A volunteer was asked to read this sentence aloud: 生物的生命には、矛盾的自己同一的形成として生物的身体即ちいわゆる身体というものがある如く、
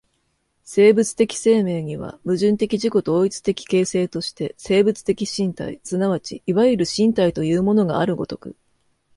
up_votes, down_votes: 2, 0